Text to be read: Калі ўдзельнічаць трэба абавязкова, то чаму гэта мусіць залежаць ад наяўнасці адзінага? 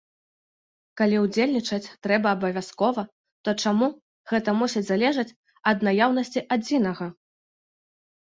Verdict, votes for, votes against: accepted, 2, 0